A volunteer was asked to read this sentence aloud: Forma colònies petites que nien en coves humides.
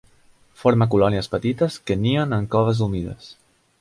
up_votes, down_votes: 3, 0